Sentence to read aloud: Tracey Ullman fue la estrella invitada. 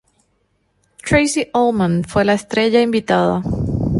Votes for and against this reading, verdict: 2, 0, accepted